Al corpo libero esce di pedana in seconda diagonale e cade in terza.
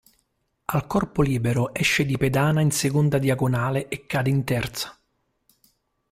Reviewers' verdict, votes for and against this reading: accepted, 3, 0